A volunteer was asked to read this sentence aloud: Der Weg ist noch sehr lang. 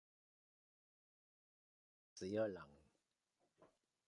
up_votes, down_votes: 0, 2